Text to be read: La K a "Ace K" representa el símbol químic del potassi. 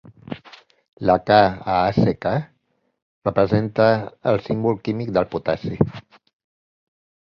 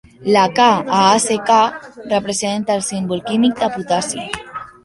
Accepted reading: first